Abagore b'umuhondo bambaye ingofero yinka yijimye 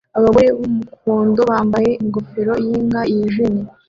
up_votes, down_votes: 2, 1